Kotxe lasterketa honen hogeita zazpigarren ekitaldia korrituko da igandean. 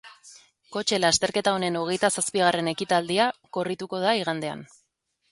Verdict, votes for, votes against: accepted, 2, 0